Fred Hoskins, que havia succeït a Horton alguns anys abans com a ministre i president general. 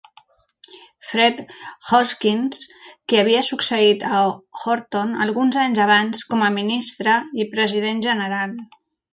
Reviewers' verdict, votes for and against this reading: accepted, 2, 1